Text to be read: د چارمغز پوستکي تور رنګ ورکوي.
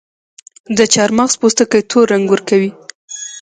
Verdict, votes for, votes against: rejected, 1, 2